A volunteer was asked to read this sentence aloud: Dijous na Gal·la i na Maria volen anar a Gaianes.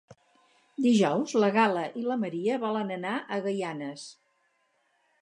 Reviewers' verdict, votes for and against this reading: rejected, 0, 4